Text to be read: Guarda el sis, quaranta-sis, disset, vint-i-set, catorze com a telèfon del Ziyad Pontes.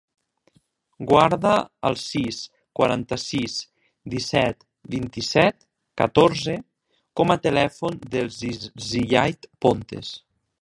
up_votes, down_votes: 1, 4